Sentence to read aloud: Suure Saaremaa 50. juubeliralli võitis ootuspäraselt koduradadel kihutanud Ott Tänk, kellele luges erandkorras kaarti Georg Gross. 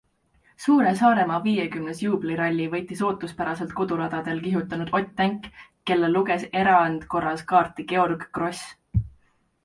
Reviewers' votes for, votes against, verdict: 0, 2, rejected